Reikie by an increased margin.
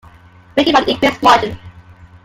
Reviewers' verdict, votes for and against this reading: rejected, 0, 2